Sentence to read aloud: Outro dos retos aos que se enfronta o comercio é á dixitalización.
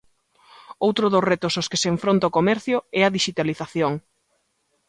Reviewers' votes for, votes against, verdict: 2, 0, accepted